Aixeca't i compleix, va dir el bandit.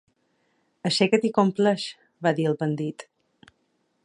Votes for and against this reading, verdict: 2, 0, accepted